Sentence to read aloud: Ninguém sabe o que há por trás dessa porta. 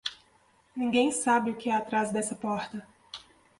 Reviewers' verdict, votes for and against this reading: accepted, 2, 0